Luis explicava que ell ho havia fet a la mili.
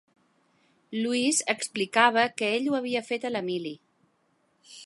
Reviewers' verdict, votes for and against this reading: accepted, 2, 1